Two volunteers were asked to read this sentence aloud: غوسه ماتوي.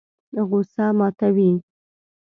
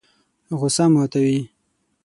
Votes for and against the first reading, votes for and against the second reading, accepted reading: 1, 2, 6, 0, second